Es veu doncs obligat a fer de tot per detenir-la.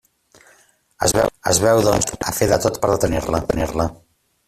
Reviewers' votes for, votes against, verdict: 0, 2, rejected